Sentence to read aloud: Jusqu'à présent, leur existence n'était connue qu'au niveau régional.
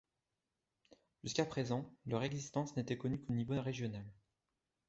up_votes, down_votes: 2, 0